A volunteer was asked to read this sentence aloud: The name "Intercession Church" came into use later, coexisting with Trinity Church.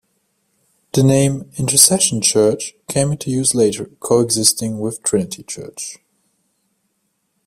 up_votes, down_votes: 2, 0